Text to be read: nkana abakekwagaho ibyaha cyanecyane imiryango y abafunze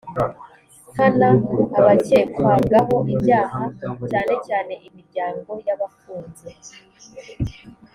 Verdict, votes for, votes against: accepted, 2, 0